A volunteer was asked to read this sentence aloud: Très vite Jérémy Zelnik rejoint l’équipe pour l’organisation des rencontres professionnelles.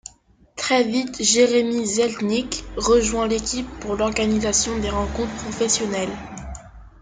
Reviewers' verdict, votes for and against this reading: accepted, 2, 0